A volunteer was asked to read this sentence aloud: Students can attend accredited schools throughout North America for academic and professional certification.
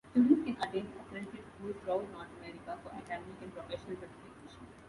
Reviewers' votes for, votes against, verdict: 0, 2, rejected